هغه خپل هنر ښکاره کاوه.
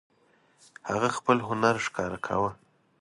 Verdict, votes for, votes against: accepted, 2, 0